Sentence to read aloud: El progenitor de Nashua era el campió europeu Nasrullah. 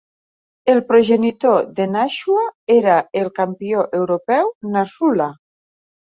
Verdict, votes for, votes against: accepted, 2, 0